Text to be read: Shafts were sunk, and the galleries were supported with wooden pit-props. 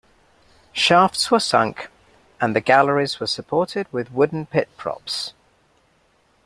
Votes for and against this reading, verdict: 2, 0, accepted